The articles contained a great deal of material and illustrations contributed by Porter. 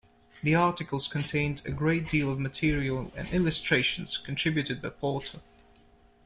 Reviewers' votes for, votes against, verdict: 1, 2, rejected